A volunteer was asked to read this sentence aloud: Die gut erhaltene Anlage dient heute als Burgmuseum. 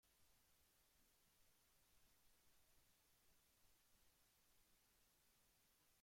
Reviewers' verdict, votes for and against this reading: rejected, 0, 2